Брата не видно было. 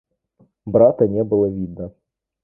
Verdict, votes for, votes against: rejected, 1, 2